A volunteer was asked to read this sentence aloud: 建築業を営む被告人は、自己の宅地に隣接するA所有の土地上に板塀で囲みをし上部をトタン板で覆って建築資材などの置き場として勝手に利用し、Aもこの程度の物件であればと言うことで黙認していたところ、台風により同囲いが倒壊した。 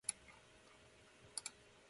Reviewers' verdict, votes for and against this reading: rejected, 2, 4